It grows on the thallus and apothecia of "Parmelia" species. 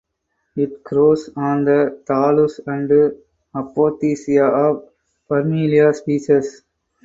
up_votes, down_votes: 4, 0